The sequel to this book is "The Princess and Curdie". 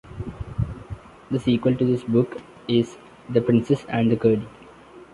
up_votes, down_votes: 1, 2